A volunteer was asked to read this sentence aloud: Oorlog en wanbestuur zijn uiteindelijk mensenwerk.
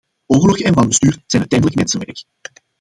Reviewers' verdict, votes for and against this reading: rejected, 0, 2